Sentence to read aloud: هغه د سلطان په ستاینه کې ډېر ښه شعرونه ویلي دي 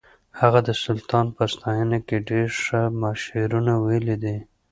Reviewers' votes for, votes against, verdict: 2, 0, accepted